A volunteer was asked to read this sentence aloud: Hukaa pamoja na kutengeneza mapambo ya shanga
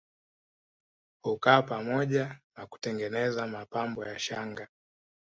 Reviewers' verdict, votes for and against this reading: accepted, 4, 0